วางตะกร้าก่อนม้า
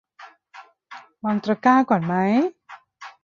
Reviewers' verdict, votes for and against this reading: rejected, 1, 2